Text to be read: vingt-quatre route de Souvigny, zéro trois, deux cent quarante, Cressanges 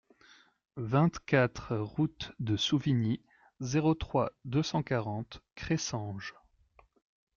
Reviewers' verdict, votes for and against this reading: accepted, 2, 0